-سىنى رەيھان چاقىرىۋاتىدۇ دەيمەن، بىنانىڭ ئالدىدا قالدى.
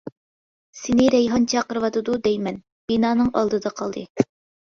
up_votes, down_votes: 2, 0